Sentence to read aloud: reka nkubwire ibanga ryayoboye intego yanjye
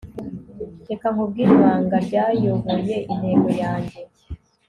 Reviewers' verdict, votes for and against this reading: accepted, 2, 0